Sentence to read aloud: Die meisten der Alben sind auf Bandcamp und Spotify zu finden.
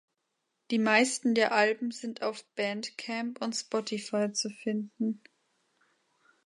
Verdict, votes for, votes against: accepted, 2, 0